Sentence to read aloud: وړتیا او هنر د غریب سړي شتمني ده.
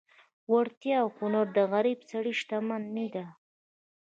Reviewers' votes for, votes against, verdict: 2, 0, accepted